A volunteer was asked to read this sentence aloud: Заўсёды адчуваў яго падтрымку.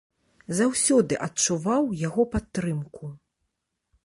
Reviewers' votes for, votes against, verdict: 2, 0, accepted